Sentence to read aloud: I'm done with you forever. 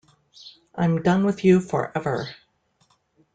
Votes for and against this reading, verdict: 2, 1, accepted